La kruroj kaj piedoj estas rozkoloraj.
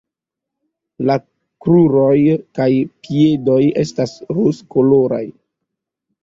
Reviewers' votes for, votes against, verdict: 2, 0, accepted